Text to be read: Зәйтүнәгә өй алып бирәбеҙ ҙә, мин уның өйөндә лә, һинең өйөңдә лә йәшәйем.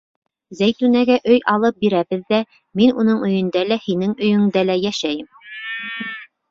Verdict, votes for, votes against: rejected, 1, 2